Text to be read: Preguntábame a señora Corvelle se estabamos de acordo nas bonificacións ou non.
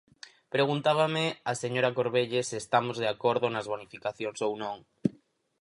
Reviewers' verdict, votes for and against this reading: rejected, 2, 6